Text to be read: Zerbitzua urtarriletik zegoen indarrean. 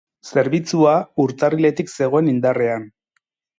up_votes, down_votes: 4, 0